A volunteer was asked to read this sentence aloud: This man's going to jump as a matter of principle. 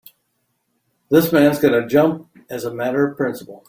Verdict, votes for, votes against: rejected, 0, 2